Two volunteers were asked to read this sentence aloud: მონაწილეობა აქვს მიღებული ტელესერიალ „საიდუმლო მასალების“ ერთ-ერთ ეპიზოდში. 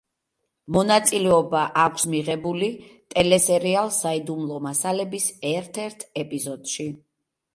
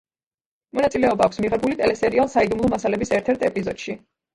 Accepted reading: first